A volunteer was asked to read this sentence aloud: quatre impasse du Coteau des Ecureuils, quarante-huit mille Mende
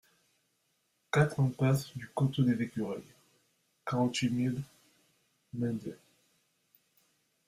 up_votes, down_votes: 1, 2